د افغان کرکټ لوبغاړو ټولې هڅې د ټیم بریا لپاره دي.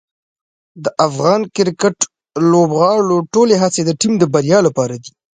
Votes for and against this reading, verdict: 2, 0, accepted